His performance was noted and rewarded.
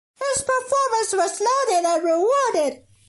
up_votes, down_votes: 1, 2